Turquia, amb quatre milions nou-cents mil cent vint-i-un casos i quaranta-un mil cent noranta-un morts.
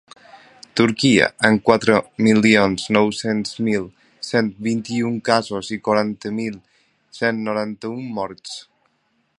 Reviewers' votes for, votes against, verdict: 1, 2, rejected